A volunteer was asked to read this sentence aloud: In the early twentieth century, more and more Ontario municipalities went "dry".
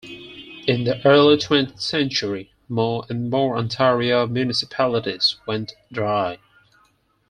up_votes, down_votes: 4, 2